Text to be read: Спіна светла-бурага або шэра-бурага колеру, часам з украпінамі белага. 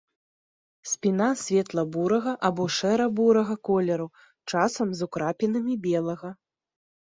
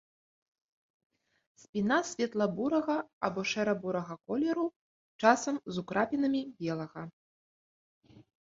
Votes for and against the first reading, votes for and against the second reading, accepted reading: 2, 0, 1, 2, first